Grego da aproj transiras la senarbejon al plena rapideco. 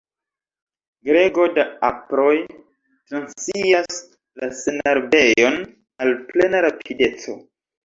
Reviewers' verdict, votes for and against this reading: rejected, 1, 2